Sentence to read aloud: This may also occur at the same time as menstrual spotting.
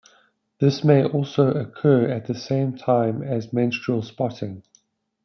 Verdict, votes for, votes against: accepted, 2, 0